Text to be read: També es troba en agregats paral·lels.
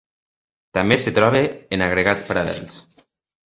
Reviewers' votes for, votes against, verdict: 2, 1, accepted